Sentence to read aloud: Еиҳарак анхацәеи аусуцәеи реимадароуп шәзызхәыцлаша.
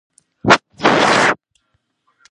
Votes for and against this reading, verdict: 0, 2, rejected